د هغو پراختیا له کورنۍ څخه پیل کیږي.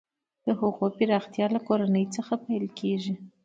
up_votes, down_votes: 0, 2